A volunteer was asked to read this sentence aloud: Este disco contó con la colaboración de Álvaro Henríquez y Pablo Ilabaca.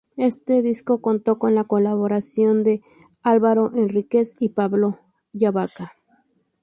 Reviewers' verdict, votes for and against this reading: accepted, 2, 0